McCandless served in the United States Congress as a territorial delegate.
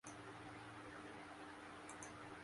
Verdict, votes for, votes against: rejected, 0, 2